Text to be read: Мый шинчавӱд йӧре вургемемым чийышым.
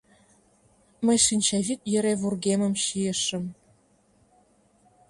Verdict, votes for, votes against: rejected, 1, 2